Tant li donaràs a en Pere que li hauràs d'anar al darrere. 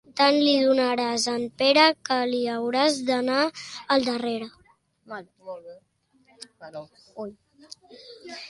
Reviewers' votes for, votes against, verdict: 0, 2, rejected